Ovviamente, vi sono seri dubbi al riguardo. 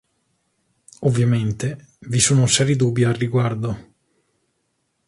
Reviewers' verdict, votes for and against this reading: accepted, 3, 0